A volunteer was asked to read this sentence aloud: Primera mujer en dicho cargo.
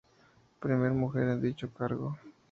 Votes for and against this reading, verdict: 0, 2, rejected